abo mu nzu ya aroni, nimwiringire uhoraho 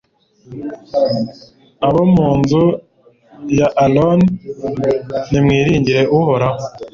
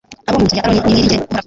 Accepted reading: first